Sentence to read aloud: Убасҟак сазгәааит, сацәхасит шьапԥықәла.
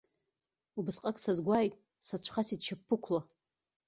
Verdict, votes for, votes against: rejected, 1, 2